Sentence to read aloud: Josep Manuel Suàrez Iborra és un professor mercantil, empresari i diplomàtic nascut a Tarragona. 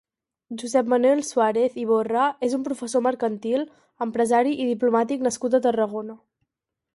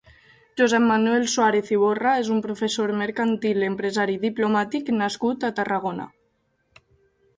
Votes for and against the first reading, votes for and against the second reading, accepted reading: 0, 2, 4, 0, second